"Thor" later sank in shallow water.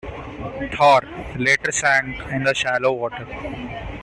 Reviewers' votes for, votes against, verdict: 0, 2, rejected